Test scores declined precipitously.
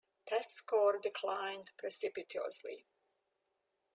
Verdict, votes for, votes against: rejected, 1, 2